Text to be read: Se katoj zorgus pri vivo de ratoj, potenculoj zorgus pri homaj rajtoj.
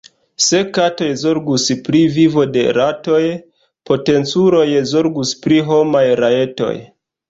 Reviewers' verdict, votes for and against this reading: rejected, 1, 2